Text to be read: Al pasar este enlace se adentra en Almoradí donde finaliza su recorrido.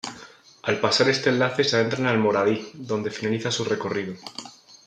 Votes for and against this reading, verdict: 2, 0, accepted